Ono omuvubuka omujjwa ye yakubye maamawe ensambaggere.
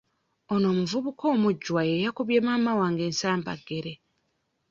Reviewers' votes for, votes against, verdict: 1, 2, rejected